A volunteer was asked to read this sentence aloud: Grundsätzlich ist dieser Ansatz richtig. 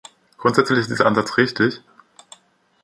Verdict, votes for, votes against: rejected, 1, 2